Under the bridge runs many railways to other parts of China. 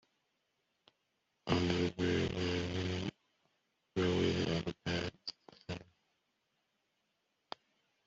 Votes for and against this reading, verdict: 0, 2, rejected